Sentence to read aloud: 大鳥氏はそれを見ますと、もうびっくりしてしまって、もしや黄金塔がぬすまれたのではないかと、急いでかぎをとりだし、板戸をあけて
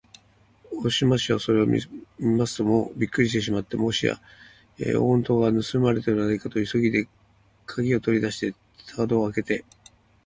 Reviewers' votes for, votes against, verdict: 1, 2, rejected